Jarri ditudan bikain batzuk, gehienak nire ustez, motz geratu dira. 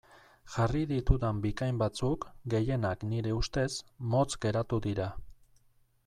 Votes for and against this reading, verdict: 2, 0, accepted